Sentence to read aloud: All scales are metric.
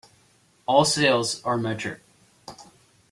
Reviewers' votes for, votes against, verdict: 0, 3, rejected